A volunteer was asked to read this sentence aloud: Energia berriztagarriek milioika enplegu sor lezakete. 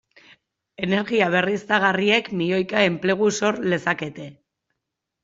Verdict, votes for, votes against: accepted, 2, 0